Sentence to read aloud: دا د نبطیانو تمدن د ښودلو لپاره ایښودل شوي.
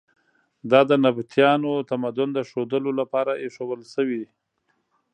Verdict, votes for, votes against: accepted, 2, 0